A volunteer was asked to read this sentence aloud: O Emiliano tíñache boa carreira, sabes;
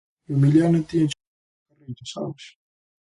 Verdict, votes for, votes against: rejected, 0, 2